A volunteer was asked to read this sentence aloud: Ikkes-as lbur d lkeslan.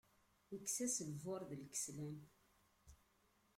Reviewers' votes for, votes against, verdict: 1, 2, rejected